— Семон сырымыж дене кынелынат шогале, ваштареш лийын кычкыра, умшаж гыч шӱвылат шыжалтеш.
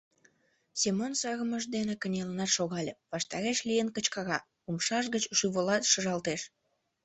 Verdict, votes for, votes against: accepted, 2, 1